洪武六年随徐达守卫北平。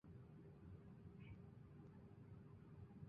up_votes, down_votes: 0, 2